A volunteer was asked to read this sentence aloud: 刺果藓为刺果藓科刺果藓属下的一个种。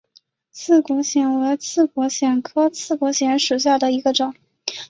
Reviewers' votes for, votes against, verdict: 2, 0, accepted